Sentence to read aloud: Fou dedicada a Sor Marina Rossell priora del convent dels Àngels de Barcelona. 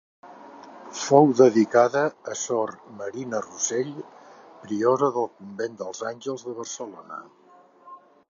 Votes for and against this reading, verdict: 2, 0, accepted